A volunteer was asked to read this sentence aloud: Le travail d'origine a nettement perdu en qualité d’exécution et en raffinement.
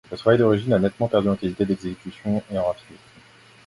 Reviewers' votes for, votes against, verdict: 1, 2, rejected